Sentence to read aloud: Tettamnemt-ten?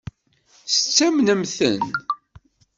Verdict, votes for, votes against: rejected, 1, 2